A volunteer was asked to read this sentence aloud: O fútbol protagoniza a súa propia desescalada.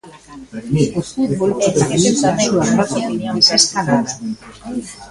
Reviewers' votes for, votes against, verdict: 0, 2, rejected